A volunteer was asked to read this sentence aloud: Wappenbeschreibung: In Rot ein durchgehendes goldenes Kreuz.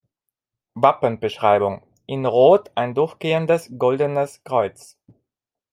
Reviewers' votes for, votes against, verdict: 1, 2, rejected